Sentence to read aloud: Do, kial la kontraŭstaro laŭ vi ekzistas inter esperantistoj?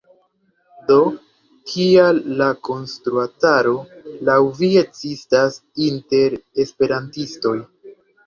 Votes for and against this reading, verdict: 0, 2, rejected